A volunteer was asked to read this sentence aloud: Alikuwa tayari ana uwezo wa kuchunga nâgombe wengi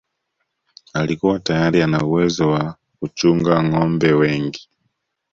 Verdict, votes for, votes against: accepted, 2, 0